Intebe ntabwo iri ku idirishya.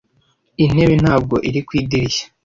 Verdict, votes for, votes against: accepted, 2, 0